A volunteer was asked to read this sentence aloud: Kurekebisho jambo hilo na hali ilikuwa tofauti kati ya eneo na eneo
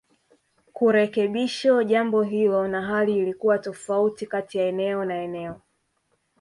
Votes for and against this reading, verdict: 0, 2, rejected